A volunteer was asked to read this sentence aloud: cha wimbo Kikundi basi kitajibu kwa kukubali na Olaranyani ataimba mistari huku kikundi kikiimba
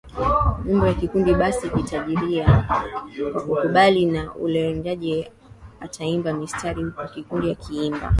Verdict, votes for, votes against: accepted, 2, 1